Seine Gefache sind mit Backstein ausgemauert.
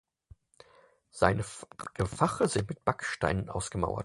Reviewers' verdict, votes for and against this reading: rejected, 0, 4